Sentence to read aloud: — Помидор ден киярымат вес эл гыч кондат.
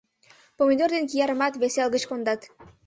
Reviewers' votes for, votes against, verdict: 2, 0, accepted